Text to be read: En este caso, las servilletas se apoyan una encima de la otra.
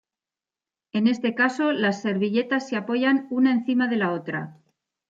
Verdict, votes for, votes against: accepted, 2, 0